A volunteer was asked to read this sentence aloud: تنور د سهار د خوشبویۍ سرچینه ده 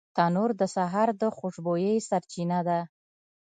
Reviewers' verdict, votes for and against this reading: accepted, 2, 0